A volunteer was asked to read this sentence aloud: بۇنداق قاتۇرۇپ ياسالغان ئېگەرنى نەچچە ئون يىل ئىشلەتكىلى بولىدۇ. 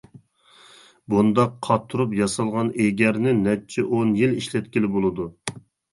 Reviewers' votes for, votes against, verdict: 2, 0, accepted